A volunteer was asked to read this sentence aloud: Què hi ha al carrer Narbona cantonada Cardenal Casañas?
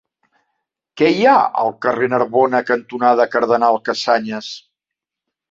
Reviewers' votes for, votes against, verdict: 2, 0, accepted